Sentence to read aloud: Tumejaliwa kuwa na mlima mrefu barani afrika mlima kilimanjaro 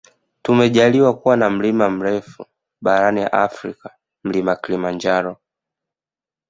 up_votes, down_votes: 2, 0